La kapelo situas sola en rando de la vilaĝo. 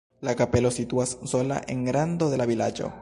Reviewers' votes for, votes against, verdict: 0, 2, rejected